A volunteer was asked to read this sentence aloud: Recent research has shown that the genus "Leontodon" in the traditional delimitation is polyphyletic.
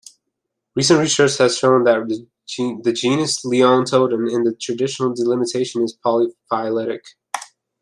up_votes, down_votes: 1, 2